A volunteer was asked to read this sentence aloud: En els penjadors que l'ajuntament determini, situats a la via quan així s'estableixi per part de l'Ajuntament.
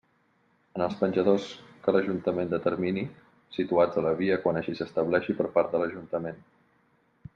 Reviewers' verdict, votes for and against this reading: accepted, 3, 0